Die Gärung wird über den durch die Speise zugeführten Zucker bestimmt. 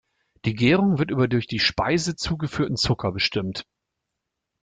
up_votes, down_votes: 0, 2